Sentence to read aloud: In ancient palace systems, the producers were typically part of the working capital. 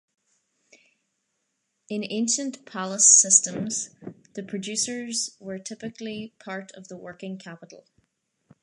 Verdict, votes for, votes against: accepted, 2, 0